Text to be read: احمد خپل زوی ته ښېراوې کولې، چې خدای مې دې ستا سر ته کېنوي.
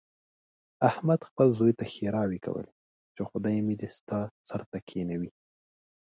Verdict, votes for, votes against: accepted, 3, 0